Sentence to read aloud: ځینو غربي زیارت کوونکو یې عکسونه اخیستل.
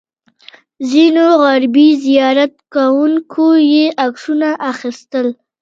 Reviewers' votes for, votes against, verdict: 2, 1, accepted